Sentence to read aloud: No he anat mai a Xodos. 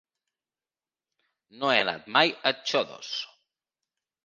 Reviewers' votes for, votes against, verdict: 2, 1, accepted